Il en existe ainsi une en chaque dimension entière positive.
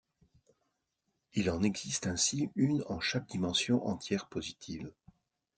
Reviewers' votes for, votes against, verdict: 2, 0, accepted